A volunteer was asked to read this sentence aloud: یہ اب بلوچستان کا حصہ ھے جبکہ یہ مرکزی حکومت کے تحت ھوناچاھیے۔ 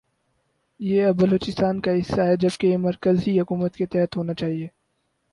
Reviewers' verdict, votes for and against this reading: rejected, 2, 2